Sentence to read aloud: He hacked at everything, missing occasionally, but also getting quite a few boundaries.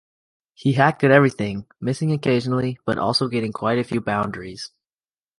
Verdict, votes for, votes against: accepted, 3, 0